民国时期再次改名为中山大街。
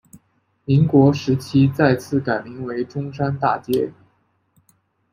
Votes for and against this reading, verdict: 2, 0, accepted